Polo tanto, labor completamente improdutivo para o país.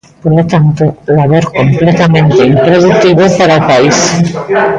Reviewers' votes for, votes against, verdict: 1, 2, rejected